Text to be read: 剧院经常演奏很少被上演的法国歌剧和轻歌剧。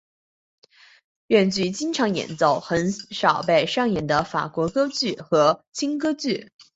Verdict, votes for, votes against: accepted, 3, 0